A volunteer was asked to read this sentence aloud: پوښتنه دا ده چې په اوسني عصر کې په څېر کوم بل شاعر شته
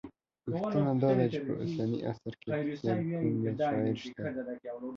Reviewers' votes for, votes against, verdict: 1, 2, rejected